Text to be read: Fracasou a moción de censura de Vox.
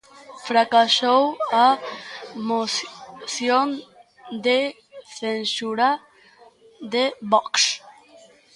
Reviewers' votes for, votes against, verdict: 0, 2, rejected